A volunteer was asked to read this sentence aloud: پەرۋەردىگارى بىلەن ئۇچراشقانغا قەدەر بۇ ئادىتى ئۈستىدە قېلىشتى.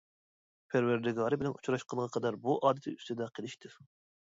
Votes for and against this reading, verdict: 0, 2, rejected